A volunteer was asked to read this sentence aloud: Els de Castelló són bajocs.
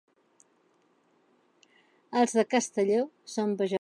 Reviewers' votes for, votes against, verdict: 0, 2, rejected